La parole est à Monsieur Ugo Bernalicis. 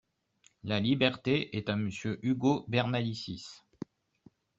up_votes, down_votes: 0, 2